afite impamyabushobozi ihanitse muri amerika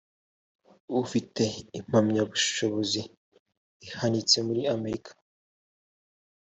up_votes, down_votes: 2, 0